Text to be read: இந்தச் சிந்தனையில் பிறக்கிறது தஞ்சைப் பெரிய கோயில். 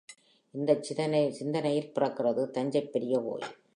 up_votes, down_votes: 2, 0